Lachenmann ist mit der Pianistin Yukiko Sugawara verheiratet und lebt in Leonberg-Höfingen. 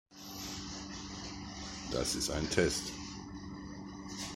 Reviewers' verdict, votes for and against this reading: rejected, 0, 2